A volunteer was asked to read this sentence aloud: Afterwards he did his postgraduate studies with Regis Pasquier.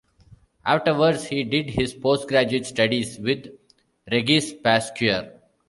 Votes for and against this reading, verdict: 0, 2, rejected